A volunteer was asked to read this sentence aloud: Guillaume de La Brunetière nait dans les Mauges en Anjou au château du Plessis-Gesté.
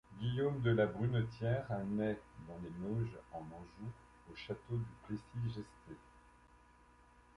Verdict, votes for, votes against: rejected, 0, 2